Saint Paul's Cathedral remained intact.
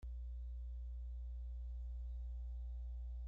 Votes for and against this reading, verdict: 0, 2, rejected